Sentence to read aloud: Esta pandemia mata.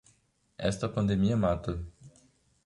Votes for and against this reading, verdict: 2, 0, accepted